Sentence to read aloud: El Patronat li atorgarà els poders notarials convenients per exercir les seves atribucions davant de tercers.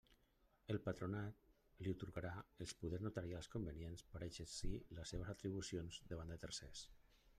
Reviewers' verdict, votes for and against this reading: accepted, 2, 0